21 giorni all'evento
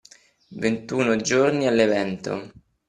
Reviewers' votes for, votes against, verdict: 0, 2, rejected